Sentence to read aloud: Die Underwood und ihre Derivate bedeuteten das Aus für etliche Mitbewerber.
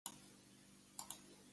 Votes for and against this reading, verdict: 0, 2, rejected